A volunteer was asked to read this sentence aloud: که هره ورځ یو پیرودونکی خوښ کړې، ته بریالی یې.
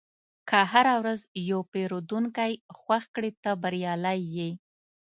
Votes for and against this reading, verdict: 2, 0, accepted